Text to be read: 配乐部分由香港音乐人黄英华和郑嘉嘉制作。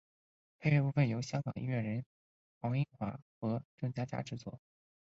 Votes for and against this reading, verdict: 2, 1, accepted